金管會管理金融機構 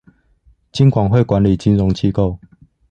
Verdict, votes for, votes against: accepted, 2, 0